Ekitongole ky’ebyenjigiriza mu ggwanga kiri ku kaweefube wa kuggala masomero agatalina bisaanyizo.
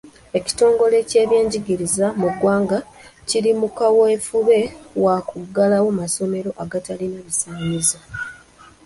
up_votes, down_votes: 0, 2